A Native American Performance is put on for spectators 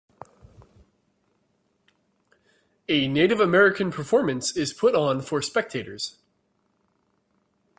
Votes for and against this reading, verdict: 2, 0, accepted